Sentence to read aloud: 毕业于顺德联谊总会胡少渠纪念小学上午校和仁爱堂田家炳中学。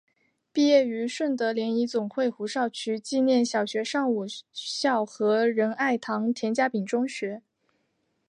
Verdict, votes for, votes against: rejected, 1, 2